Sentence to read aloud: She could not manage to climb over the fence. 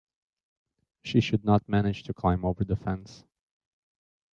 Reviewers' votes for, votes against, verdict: 2, 4, rejected